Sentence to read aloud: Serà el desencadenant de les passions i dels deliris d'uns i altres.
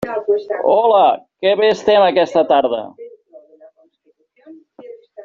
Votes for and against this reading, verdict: 0, 2, rejected